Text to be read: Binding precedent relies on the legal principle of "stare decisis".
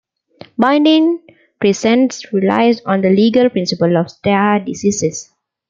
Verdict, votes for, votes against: accepted, 2, 1